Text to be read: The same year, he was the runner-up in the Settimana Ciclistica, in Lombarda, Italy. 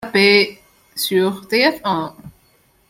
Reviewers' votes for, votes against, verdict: 0, 2, rejected